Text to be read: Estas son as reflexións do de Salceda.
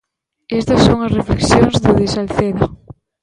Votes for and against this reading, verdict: 1, 2, rejected